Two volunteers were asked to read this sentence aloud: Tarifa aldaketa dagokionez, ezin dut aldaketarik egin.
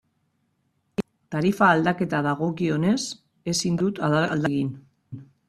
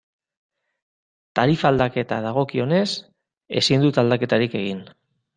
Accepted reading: second